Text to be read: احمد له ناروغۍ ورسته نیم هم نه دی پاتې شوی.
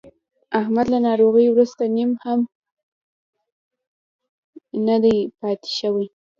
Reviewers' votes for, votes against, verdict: 0, 2, rejected